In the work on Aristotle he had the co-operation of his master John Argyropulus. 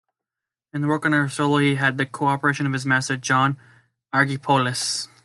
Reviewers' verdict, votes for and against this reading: rejected, 1, 2